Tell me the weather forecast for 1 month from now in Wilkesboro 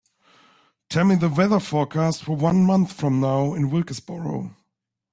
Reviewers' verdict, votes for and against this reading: rejected, 0, 2